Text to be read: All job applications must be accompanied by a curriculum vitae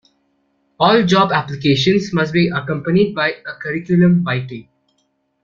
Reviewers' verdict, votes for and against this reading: accepted, 2, 0